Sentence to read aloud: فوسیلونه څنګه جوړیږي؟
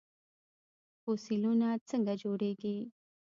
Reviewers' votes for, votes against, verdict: 1, 2, rejected